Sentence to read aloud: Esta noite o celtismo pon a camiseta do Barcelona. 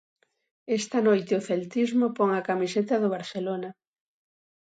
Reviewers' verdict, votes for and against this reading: accepted, 2, 0